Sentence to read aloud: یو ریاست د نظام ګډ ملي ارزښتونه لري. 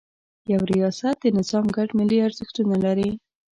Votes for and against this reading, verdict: 2, 0, accepted